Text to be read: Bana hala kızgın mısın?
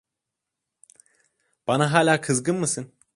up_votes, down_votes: 2, 0